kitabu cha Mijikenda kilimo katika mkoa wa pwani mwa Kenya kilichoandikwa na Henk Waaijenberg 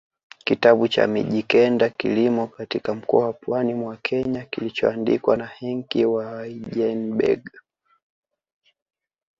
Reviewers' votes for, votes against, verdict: 3, 1, accepted